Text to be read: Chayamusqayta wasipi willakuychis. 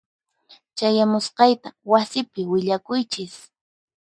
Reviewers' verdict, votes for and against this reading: accepted, 4, 0